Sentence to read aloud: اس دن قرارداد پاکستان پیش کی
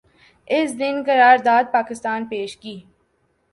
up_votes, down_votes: 2, 0